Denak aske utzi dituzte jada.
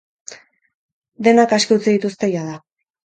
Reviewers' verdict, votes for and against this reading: accepted, 6, 0